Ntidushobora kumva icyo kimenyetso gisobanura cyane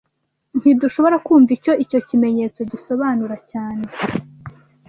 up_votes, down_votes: 1, 2